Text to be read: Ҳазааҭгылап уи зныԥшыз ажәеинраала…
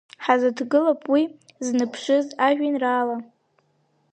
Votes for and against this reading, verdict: 1, 2, rejected